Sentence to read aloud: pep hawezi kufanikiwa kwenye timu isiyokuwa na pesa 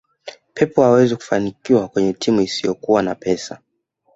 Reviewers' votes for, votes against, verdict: 1, 2, rejected